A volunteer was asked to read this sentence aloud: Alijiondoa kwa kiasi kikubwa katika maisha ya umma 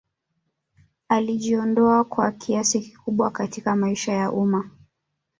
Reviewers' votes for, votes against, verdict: 1, 2, rejected